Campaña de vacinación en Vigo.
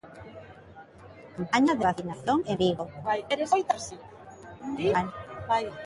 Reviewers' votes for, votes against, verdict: 0, 2, rejected